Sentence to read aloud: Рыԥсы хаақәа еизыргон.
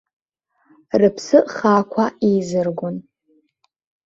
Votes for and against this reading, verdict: 2, 0, accepted